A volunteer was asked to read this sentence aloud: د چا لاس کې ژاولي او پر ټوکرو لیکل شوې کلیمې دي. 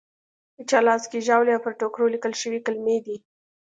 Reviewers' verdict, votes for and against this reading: accepted, 2, 0